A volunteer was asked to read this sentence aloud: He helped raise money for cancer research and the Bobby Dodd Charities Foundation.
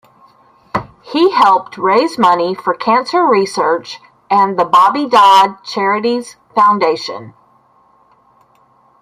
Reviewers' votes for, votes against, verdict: 2, 1, accepted